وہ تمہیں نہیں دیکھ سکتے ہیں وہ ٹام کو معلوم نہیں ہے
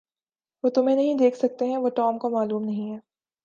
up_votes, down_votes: 3, 0